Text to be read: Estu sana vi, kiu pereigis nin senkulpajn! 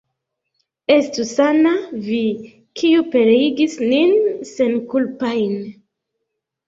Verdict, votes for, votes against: accepted, 2, 1